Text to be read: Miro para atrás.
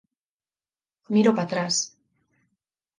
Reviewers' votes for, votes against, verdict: 4, 2, accepted